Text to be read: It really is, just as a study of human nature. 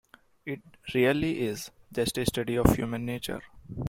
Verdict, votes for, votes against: rejected, 0, 2